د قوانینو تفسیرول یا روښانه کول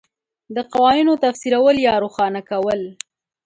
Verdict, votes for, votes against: accepted, 5, 0